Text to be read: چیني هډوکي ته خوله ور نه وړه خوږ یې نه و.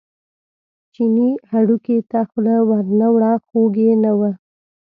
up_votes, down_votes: 2, 0